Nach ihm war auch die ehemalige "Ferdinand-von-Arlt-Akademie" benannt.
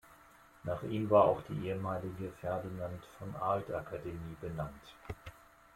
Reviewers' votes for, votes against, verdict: 2, 0, accepted